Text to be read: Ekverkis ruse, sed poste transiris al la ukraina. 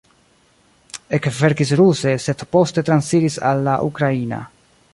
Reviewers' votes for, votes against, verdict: 2, 0, accepted